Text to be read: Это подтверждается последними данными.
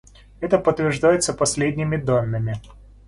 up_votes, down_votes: 2, 0